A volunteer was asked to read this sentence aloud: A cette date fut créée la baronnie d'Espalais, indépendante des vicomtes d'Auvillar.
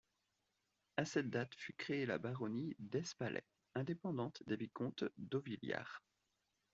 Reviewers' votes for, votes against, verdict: 2, 0, accepted